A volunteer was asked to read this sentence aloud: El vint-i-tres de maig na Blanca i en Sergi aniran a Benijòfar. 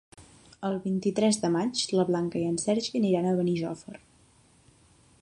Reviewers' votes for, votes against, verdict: 0, 2, rejected